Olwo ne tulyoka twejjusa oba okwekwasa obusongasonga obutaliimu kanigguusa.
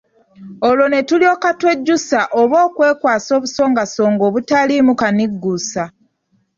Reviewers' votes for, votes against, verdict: 2, 1, accepted